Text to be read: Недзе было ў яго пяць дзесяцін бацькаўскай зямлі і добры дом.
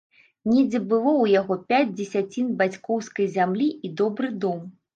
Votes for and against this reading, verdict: 1, 2, rejected